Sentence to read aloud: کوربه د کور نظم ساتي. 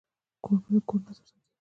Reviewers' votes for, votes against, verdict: 2, 0, accepted